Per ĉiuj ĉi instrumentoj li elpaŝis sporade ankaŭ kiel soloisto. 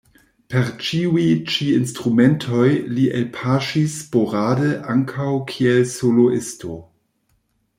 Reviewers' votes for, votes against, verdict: 1, 2, rejected